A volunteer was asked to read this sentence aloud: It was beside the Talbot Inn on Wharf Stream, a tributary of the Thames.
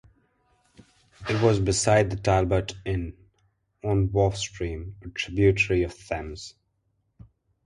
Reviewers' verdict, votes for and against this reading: rejected, 0, 2